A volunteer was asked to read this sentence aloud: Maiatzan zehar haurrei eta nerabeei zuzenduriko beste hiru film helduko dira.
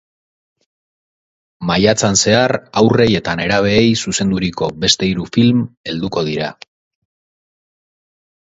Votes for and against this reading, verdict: 2, 0, accepted